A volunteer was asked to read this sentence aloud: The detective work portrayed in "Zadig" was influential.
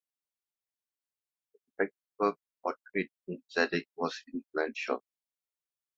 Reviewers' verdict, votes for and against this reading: rejected, 1, 2